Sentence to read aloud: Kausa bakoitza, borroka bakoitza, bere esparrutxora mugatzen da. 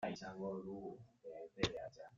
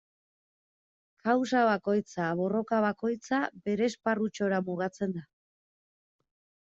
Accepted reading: second